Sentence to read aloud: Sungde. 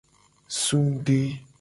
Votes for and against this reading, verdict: 2, 0, accepted